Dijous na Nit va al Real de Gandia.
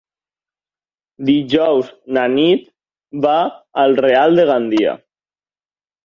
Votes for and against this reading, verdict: 3, 0, accepted